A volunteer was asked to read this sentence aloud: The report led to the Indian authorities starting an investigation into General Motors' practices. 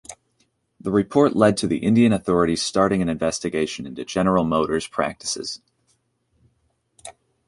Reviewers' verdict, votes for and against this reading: accepted, 2, 0